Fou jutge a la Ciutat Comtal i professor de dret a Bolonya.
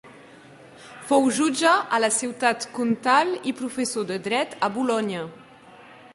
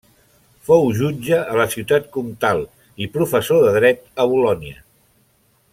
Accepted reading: second